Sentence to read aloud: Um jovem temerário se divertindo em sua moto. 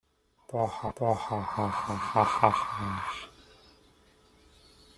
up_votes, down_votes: 0, 2